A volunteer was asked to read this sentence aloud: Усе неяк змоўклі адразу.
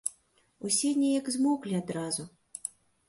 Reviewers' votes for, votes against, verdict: 2, 0, accepted